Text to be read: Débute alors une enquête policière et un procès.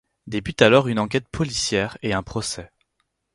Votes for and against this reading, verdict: 4, 0, accepted